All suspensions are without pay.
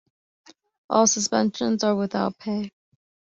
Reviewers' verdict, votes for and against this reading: accepted, 2, 0